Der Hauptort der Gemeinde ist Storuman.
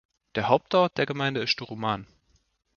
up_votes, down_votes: 2, 0